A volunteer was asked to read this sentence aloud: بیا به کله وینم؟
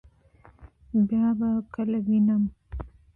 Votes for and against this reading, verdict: 2, 0, accepted